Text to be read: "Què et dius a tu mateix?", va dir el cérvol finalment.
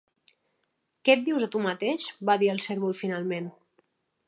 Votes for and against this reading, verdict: 3, 0, accepted